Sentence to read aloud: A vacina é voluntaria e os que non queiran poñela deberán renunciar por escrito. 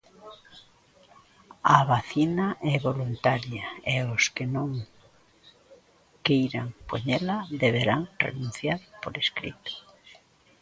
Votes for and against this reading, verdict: 2, 1, accepted